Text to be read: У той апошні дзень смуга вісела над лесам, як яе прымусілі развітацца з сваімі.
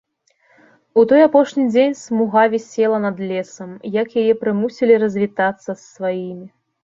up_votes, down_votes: 2, 0